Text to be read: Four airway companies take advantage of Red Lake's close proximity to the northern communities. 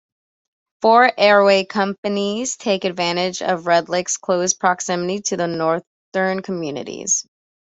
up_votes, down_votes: 2, 0